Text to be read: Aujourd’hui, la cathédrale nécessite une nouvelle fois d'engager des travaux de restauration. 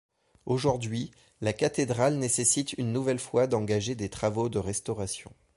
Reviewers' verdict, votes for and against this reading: accepted, 2, 0